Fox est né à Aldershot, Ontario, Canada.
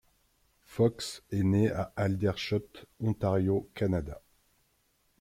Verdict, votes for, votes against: accepted, 2, 0